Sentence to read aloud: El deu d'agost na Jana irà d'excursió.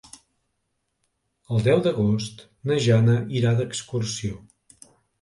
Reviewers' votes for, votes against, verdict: 2, 0, accepted